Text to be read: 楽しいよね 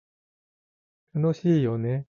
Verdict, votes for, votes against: accepted, 2, 0